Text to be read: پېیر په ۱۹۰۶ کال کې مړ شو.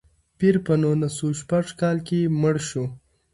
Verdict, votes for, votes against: rejected, 0, 2